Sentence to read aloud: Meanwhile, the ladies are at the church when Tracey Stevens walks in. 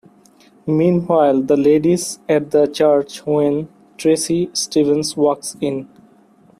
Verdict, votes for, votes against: rejected, 0, 2